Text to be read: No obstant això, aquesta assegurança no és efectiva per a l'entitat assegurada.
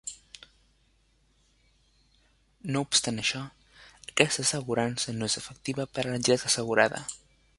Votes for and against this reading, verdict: 0, 2, rejected